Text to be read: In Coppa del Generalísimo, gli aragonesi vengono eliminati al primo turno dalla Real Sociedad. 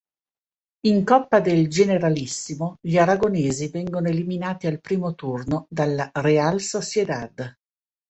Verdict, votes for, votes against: rejected, 1, 2